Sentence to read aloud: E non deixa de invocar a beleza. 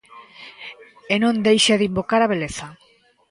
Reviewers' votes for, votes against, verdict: 2, 0, accepted